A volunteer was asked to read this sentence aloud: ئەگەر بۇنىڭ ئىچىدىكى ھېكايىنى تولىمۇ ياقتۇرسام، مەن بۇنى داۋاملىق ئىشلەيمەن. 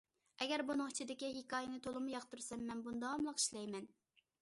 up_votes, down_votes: 2, 0